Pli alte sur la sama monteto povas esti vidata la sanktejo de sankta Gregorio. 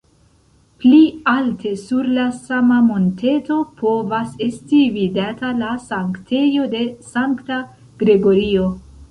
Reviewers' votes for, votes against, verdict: 2, 0, accepted